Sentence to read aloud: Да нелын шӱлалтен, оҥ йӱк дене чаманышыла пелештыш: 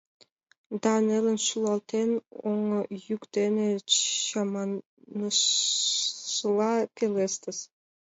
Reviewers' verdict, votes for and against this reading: accepted, 2, 1